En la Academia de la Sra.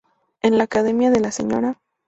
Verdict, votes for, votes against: accepted, 2, 0